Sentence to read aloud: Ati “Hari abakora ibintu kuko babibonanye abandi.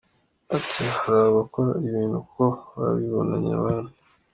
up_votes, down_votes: 2, 0